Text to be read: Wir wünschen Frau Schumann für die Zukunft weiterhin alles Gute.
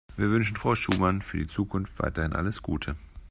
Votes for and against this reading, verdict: 2, 0, accepted